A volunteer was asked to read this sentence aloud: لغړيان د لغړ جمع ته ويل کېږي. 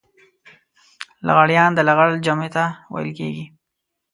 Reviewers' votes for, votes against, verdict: 2, 0, accepted